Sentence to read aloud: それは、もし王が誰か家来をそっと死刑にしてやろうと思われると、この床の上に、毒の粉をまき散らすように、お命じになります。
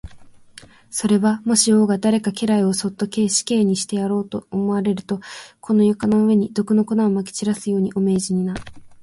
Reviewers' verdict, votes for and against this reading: rejected, 0, 2